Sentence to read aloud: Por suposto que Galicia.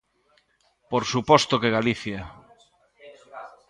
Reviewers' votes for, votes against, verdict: 0, 2, rejected